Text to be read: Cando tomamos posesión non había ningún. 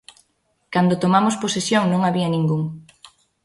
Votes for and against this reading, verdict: 2, 0, accepted